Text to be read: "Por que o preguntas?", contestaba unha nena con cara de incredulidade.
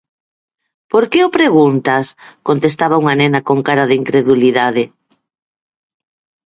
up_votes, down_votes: 6, 0